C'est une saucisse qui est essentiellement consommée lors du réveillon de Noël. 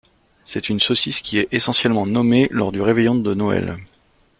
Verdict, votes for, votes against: rejected, 1, 2